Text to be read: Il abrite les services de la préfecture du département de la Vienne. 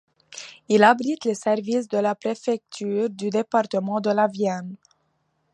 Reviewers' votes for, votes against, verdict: 2, 0, accepted